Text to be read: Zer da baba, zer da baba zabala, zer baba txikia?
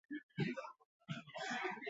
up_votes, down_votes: 0, 4